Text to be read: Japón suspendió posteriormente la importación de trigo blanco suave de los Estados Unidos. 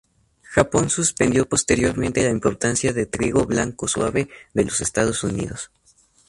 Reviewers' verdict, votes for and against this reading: accepted, 2, 0